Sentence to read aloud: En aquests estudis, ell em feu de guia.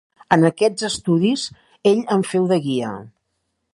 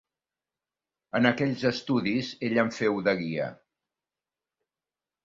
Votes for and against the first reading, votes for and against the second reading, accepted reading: 4, 0, 1, 2, first